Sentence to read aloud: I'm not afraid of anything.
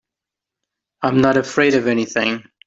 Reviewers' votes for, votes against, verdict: 3, 0, accepted